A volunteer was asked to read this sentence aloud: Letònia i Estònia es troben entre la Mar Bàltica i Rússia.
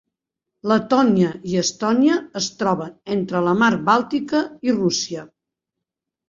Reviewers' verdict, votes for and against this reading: accepted, 2, 0